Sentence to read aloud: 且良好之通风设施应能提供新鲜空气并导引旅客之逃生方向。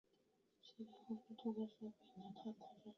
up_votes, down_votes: 1, 2